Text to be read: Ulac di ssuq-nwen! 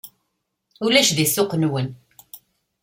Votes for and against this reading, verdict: 2, 0, accepted